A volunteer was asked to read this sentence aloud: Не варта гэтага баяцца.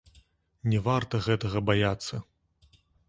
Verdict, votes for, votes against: accepted, 2, 0